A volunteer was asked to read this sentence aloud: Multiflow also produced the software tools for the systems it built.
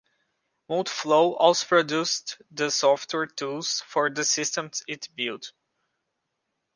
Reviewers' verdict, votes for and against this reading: accepted, 2, 0